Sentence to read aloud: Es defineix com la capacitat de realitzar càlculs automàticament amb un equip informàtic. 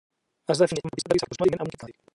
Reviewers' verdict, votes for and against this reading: rejected, 0, 2